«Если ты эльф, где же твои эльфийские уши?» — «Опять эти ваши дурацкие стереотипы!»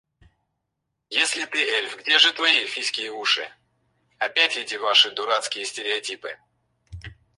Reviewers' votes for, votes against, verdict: 0, 4, rejected